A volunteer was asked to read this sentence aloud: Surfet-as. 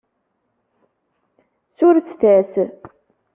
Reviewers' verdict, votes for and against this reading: accepted, 2, 0